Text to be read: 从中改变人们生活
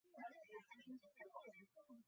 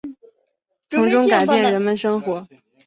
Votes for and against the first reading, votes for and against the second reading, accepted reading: 0, 3, 2, 0, second